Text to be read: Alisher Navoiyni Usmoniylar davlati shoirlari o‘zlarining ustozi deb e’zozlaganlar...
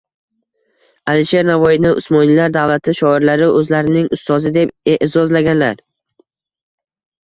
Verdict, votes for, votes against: rejected, 1, 2